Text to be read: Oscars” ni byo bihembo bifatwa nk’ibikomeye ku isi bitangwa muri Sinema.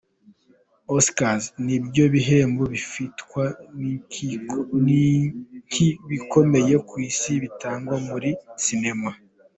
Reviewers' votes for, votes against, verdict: 0, 2, rejected